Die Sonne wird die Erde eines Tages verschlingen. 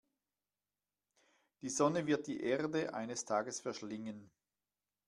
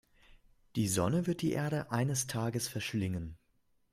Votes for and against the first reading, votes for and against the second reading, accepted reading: 1, 2, 2, 0, second